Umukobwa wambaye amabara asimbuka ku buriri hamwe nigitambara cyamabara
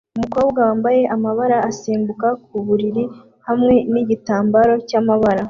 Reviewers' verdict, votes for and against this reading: accepted, 2, 0